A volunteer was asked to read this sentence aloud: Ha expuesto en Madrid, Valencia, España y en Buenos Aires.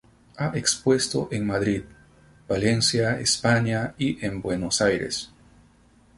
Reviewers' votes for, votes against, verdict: 2, 0, accepted